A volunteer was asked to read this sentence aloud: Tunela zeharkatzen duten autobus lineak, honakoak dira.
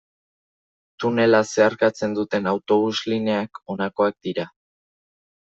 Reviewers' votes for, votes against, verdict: 2, 0, accepted